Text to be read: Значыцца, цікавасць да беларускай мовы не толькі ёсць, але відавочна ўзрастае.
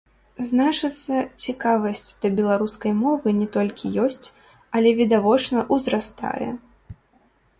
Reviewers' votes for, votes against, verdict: 0, 3, rejected